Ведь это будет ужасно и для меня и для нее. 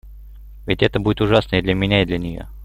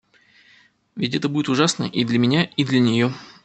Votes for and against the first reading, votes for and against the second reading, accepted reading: 0, 2, 2, 0, second